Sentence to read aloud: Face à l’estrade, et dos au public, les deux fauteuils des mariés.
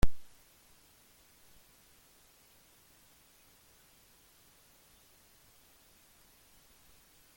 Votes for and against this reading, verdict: 0, 2, rejected